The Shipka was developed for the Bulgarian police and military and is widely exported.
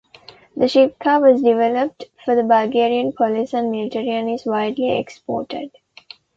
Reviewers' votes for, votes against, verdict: 2, 0, accepted